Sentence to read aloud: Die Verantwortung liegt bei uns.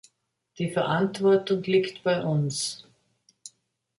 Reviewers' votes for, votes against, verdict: 2, 0, accepted